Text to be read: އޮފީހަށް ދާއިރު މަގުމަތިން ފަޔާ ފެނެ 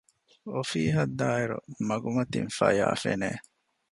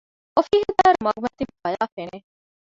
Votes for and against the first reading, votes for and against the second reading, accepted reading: 2, 0, 0, 2, first